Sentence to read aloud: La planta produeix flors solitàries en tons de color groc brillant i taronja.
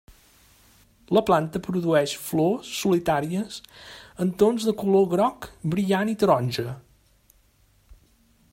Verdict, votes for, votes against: accepted, 3, 0